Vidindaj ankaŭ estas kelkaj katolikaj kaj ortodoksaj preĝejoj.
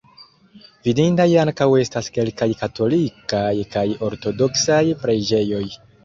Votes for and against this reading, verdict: 2, 0, accepted